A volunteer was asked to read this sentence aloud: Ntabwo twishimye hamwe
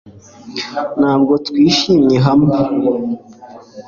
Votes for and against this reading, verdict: 2, 0, accepted